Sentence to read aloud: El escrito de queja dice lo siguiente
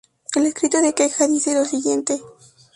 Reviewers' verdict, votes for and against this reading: rejected, 2, 2